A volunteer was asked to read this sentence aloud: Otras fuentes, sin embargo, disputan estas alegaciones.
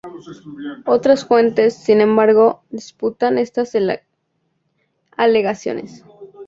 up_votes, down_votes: 0, 2